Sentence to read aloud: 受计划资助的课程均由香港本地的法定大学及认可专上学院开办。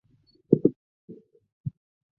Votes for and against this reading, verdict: 0, 3, rejected